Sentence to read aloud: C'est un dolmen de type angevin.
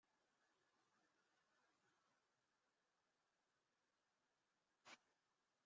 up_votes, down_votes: 0, 2